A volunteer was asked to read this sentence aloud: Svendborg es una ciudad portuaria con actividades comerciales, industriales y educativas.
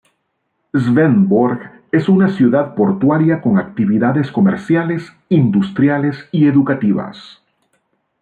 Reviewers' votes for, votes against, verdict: 2, 0, accepted